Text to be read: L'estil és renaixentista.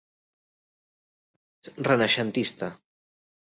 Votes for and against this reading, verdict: 0, 2, rejected